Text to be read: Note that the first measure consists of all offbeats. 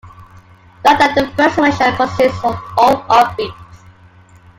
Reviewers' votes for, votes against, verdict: 2, 0, accepted